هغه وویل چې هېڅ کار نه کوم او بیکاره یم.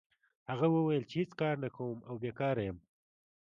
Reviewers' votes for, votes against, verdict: 2, 0, accepted